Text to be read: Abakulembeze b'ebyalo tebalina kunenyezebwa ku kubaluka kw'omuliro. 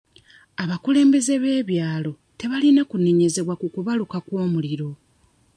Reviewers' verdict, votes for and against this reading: accepted, 2, 0